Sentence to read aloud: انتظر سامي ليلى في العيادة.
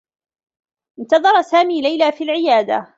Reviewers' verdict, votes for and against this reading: rejected, 1, 2